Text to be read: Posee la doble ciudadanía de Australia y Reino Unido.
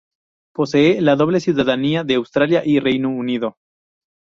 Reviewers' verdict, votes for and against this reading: accepted, 2, 0